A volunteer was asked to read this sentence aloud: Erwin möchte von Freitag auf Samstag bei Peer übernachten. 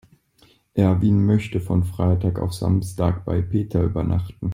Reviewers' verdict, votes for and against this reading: rejected, 0, 2